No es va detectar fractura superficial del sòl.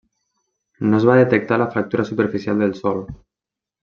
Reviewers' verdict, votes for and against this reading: rejected, 1, 2